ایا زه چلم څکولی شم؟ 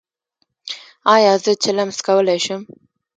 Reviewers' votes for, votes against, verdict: 0, 2, rejected